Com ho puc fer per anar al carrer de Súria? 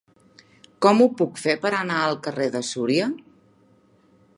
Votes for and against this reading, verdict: 3, 0, accepted